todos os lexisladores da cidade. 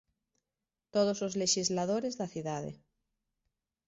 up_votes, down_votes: 3, 0